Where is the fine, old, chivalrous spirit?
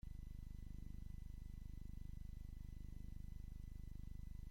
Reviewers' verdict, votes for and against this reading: rejected, 0, 2